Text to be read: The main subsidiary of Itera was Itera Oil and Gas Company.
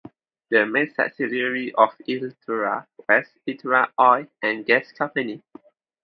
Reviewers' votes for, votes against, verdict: 2, 0, accepted